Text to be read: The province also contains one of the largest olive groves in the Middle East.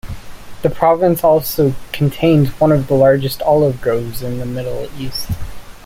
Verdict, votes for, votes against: rejected, 0, 2